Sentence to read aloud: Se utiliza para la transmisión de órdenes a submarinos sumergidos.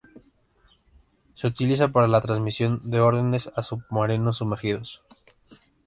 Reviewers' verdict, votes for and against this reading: accepted, 2, 1